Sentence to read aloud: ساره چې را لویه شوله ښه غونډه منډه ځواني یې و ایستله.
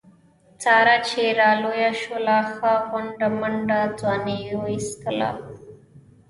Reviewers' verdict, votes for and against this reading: rejected, 0, 3